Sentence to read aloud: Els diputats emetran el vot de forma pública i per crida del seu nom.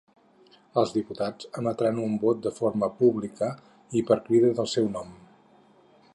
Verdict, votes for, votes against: rejected, 2, 6